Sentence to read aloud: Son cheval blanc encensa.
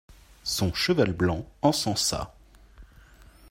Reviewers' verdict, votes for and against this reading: accepted, 2, 0